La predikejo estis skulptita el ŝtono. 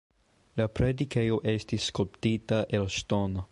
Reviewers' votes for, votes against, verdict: 2, 0, accepted